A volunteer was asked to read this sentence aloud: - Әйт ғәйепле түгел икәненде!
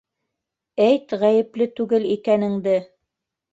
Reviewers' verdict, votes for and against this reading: accepted, 2, 0